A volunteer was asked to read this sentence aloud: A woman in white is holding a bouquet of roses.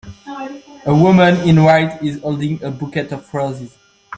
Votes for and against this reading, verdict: 0, 2, rejected